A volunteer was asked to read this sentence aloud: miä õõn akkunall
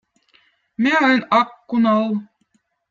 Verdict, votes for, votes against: accepted, 2, 0